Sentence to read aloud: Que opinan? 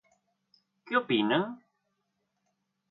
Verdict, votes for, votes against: rejected, 1, 2